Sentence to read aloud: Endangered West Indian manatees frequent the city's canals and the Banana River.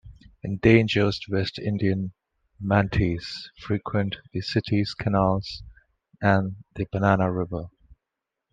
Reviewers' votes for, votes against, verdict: 2, 0, accepted